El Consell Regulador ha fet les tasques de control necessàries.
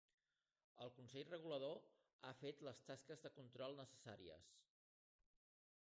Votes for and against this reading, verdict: 1, 2, rejected